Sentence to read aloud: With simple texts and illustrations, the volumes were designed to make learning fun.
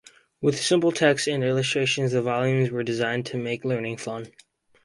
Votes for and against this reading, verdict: 4, 0, accepted